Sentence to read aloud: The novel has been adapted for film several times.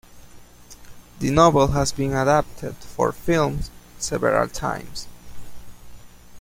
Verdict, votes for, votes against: accepted, 2, 0